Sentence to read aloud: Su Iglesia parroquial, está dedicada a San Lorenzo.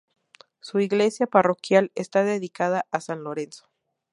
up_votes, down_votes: 2, 0